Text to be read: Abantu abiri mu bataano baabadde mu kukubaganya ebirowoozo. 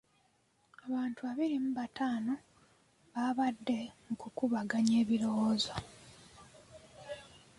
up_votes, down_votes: 3, 0